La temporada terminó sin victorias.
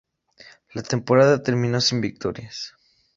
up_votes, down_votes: 2, 0